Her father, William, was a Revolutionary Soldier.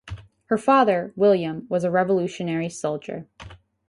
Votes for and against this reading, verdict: 4, 0, accepted